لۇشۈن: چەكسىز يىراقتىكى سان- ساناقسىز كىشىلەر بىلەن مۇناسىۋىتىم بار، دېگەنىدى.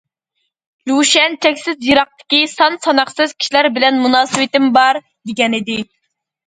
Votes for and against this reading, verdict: 0, 2, rejected